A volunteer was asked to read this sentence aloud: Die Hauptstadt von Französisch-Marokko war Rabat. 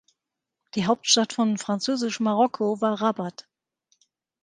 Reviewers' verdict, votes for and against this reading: accepted, 2, 0